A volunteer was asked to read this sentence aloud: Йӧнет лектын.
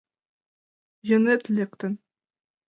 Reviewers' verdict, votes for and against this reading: accepted, 2, 0